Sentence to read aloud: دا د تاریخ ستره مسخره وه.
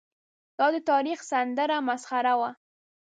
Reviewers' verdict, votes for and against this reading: rejected, 1, 4